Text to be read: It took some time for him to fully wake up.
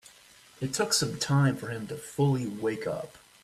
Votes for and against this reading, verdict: 2, 0, accepted